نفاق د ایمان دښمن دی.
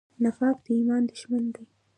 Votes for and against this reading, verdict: 2, 0, accepted